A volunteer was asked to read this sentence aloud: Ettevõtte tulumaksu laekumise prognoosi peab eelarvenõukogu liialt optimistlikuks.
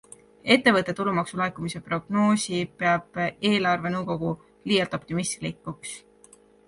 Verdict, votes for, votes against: accepted, 2, 0